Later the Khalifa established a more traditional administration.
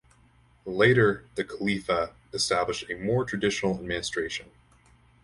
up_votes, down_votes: 2, 2